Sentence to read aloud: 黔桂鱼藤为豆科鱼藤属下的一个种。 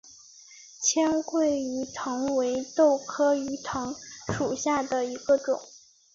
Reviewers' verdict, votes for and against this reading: accepted, 3, 1